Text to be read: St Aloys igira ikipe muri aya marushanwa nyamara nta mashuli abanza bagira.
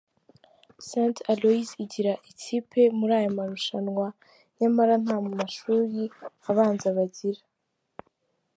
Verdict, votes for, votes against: accepted, 2, 1